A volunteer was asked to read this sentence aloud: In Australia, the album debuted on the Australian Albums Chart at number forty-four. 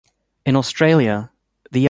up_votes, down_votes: 0, 2